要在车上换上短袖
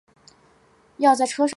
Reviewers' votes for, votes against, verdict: 0, 2, rejected